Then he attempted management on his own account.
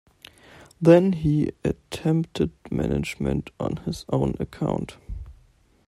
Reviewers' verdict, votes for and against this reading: accepted, 2, 0